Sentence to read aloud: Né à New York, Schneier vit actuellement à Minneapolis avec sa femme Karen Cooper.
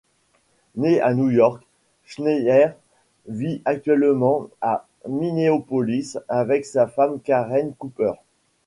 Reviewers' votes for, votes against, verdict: 1, 2, rejected